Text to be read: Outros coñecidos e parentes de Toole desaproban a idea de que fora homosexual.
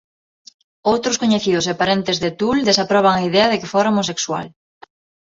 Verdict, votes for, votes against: accepted, 2, 0